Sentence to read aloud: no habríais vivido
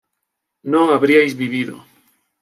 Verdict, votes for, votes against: accepted, 3, 0